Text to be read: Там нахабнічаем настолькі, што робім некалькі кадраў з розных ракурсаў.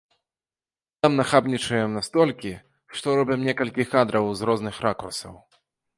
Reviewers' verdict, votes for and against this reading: accepted, 2, 0